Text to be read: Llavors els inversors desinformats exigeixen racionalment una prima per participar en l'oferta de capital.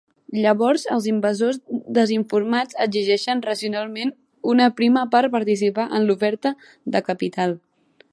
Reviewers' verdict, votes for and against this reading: rejected, 1, 2